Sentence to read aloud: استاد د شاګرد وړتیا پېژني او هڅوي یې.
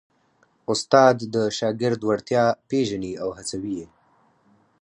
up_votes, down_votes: 4, 0